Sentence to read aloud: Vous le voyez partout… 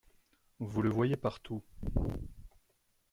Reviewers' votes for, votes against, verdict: 2, 0, accepted